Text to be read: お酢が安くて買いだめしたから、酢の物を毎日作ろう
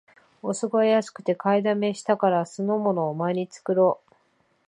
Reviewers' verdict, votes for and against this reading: rejected, 0, 2